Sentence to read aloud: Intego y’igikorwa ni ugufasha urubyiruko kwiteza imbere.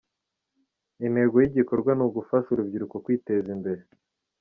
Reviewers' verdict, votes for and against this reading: accepted, 2, 0